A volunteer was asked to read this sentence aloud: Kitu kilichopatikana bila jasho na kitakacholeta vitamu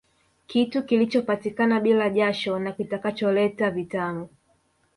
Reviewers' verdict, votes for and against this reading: accepted, 3, 1